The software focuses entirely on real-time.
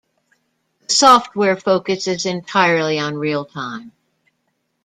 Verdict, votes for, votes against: rejected, 1, 2